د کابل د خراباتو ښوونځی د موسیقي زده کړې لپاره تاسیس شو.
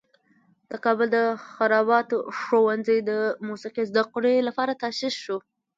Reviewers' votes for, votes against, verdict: 2, 0, accepted